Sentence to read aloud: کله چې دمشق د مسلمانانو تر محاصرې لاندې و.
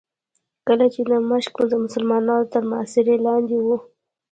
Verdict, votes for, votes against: accepted, 2, 0